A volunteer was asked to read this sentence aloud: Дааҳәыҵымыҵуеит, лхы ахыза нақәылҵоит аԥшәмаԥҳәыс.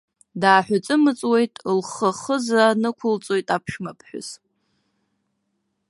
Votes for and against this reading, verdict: 3, 1, accepted